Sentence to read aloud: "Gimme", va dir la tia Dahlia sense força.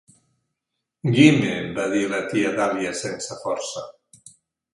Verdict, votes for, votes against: rejected, 0, 2